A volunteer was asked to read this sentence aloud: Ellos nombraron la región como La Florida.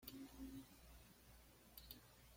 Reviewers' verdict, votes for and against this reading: rejected, 0, 2